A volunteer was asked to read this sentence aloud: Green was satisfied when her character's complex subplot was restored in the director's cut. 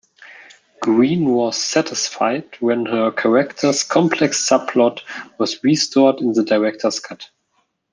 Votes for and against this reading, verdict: 2, 0, accepted